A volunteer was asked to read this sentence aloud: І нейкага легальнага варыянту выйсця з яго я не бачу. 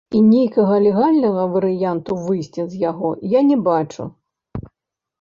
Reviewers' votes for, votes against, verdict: 0, 2, rejected